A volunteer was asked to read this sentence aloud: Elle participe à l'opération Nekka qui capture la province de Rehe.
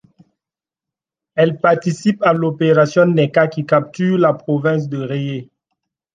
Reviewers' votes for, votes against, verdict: 2, 0, accepted